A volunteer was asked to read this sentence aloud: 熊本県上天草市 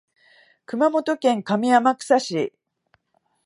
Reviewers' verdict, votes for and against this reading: accepted, 2, 0